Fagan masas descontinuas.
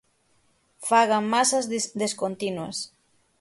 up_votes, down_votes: 3, 6